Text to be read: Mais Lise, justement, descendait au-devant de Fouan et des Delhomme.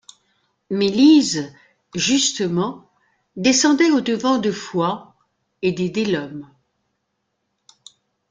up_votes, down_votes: 2, 0